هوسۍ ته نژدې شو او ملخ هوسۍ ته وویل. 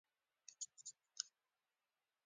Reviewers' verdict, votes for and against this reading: rejected, 1, 2